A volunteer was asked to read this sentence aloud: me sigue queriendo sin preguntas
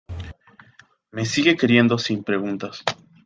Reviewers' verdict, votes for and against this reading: accepted, 2, 0